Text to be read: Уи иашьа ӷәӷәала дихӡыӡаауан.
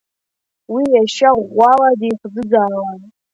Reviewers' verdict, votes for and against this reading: accepted, 2, 1